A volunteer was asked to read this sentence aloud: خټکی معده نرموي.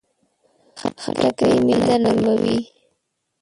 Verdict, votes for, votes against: rejected, 1, 2